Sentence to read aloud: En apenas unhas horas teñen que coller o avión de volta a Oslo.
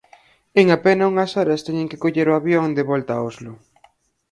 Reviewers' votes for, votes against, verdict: 0, 4, rejected